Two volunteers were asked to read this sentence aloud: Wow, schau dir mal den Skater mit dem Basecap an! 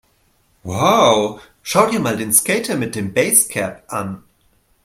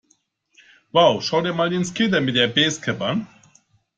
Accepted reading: first